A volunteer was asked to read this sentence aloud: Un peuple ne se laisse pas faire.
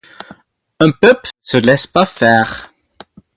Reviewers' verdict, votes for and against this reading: accepted, 4, 2